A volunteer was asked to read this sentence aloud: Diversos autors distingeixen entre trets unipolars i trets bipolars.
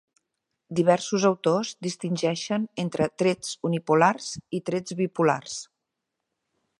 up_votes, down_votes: 3, 0